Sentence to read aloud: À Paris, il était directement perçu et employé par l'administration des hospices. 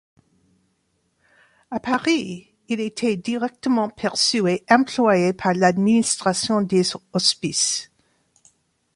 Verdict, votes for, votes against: rejected, 1, 2